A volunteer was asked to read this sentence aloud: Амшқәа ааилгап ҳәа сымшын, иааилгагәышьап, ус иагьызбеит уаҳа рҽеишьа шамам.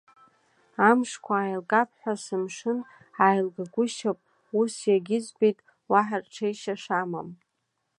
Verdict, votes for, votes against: accepted, 2, 1